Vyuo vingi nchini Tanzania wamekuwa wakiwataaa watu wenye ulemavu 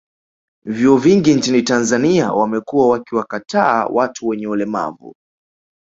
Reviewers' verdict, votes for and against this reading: accepted, 2, 1